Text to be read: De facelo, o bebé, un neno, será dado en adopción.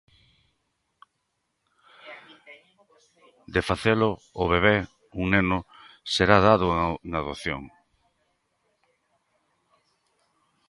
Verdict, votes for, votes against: rejected, 1, 2